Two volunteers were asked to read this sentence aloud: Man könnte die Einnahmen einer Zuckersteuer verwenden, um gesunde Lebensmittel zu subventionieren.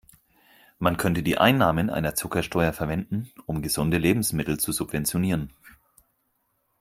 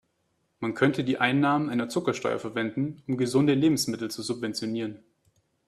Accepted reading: second